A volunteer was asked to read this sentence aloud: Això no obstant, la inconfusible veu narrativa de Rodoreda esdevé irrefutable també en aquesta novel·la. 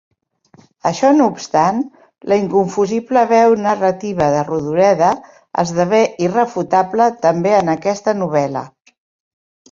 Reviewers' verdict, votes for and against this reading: accepted, 4, 0